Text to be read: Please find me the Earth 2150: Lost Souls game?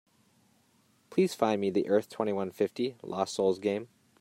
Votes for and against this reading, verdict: 0, 2, rejected